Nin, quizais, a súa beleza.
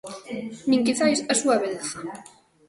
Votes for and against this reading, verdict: 2, 0, accepted